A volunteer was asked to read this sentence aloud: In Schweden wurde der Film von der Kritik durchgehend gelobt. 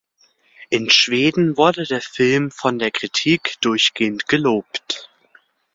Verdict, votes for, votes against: accepted, 2, 0